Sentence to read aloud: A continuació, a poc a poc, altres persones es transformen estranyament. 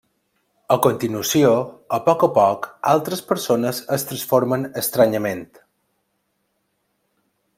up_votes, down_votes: 3, 0